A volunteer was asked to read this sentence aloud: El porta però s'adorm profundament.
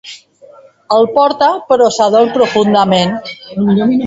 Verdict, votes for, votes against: rejected, 0, 2